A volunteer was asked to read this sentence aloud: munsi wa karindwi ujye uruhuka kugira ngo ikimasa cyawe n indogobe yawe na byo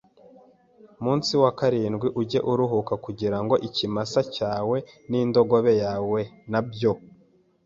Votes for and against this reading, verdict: 3, 0, accepted